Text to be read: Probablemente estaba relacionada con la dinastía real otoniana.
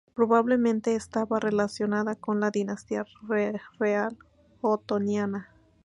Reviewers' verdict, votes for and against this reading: rejected, 0, 2